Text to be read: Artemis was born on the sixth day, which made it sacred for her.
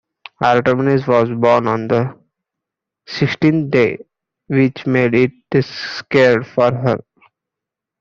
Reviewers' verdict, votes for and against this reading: rejected, 0, 2